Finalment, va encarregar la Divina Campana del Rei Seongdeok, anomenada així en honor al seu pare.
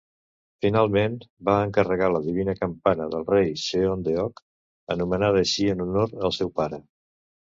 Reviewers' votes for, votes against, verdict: 2, 0, accepted